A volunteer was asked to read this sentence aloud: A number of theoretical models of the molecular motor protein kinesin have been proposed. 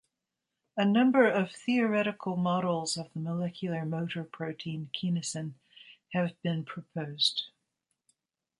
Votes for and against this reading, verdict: 1, 2, rejected